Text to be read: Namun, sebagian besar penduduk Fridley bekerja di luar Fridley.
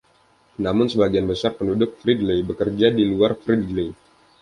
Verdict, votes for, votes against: accepted, 2, 0